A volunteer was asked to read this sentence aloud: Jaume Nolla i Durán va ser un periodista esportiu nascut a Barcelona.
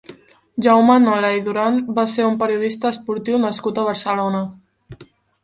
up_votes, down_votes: 1, 3